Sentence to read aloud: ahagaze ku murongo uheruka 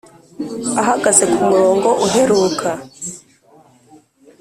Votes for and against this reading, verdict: 2, 0, accepted